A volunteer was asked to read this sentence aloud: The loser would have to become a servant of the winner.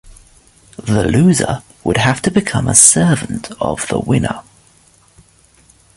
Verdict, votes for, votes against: accepted, 2, 0